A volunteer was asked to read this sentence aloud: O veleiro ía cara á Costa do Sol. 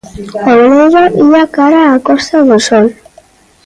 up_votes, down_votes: 1, 2